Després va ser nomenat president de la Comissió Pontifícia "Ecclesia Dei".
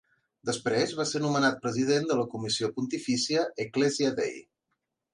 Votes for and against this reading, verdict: 4, 0, accepted